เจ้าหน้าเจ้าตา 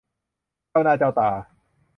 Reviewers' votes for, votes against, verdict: 2, 0, accepted